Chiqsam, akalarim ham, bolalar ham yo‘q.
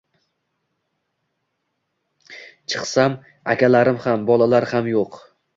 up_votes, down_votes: 2, 0